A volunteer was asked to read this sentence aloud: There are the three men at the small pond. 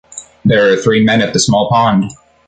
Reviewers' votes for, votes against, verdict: 0, 2, rejected